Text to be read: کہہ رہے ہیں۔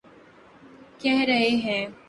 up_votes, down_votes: 3, 0